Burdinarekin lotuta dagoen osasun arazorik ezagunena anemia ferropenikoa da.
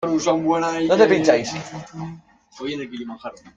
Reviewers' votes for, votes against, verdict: 0, 2, rejected